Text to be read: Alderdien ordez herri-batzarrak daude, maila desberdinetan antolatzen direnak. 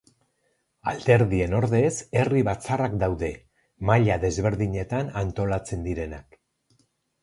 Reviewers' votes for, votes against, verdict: 4, 0, accepted